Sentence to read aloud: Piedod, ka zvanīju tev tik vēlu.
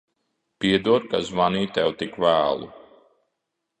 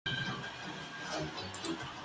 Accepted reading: first